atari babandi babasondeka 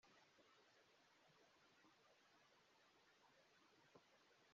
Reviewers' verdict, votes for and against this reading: rejected, 0, 2